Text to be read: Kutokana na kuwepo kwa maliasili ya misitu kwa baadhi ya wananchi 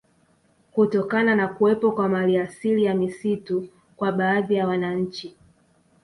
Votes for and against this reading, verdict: 2, 0, accepted